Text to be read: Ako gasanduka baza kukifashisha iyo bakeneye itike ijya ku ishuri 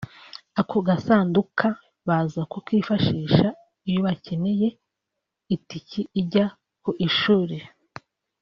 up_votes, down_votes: 3, 0